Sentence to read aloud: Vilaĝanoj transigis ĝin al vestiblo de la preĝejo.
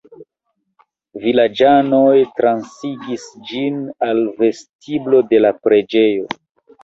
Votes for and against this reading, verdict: 2, 0, accepted